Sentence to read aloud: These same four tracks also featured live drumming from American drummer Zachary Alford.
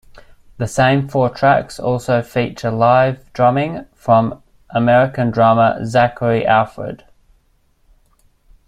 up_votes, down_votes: 1, 2